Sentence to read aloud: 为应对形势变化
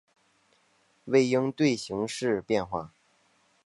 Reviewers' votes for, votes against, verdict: 2, 0, accepted